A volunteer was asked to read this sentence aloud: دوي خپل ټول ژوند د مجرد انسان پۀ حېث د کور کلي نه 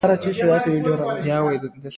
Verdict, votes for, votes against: rejected, 1, 2